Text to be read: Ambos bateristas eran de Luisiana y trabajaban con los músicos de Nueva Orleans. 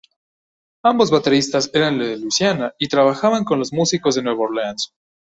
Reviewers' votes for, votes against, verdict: 2, 0, accepted